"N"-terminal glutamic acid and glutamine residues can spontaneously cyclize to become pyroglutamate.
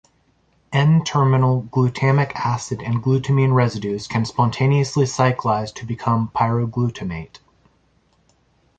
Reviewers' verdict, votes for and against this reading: accepted, 2, 0